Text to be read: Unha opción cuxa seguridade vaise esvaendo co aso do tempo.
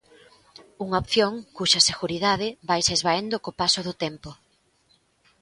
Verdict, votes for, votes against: rejected, 1, 2